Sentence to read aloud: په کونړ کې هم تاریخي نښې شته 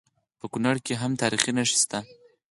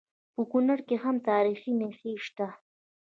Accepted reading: second